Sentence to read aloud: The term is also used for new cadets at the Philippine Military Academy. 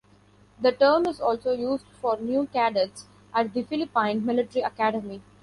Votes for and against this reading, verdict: 1, 2, rejected